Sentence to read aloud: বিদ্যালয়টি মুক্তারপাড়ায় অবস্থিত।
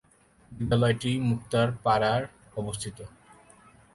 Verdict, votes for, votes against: rejected, 3, 3